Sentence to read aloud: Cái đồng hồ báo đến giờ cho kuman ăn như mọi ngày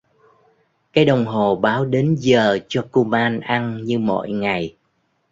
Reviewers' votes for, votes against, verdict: 2, 0, accepted